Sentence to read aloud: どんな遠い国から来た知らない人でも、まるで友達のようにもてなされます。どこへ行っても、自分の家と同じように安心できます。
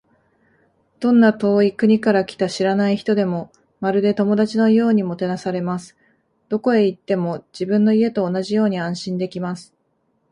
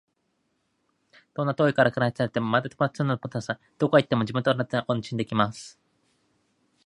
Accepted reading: first